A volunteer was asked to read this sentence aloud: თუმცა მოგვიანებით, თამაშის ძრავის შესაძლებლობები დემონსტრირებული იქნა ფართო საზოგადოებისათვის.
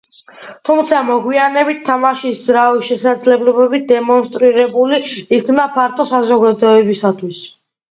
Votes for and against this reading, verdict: 2, 0, accepted